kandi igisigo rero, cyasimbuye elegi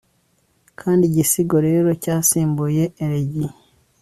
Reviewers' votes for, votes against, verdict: 2, 0, accepted